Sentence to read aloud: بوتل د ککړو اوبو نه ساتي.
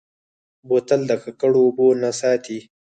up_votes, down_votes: 0, 4